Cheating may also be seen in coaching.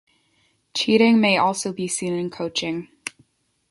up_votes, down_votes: 2, 0